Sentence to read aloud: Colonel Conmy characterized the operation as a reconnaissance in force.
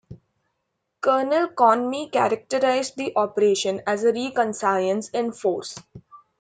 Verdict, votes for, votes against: rejected, 0, 2